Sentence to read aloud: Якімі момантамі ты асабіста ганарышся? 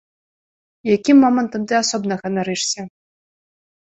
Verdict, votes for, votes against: rejected, 0, 2